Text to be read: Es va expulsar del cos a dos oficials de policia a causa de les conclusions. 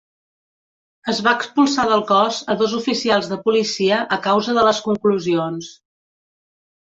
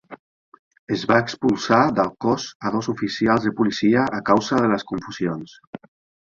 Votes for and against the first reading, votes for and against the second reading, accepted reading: 3, 0, 0, 2, first